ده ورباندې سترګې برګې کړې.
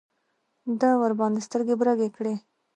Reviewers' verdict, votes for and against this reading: accepted, 2, 1